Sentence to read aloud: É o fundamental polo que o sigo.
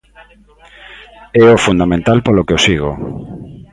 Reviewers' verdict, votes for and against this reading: rejected, 0, 2